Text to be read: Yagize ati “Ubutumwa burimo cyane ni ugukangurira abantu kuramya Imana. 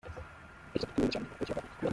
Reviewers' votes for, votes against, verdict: 0, 2, rejected